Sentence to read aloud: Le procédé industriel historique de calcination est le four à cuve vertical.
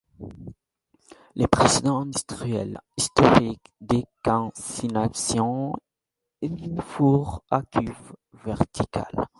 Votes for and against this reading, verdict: 0, 2, rejected